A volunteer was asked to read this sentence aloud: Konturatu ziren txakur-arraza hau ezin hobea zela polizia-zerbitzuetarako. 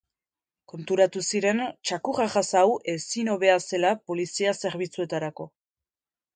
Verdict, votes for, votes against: rejected, 2, 2